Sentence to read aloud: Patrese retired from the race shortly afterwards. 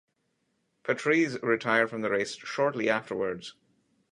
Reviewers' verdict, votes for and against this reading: accepted, 2, 0